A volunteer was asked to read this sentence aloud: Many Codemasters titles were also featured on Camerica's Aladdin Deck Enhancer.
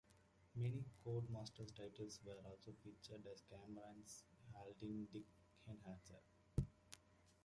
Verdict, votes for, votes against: rejected, 0, 2